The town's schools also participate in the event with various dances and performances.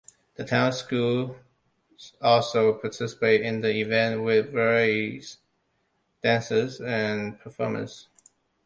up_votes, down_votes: 0, 2